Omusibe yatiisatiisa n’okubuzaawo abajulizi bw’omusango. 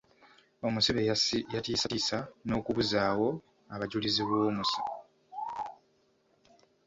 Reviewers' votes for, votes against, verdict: 1, 2, rejected